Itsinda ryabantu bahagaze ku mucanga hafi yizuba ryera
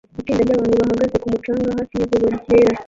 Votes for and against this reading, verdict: 0, 2, rejected